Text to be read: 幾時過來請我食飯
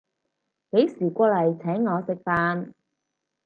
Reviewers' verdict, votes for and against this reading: rejected, 2, 4